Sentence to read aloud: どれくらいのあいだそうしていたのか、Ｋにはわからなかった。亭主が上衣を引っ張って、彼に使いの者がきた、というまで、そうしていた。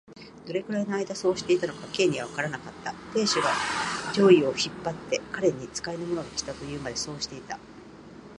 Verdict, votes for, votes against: accepted, 2, 1